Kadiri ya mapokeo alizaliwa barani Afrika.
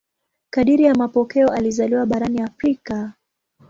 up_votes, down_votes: 2, 0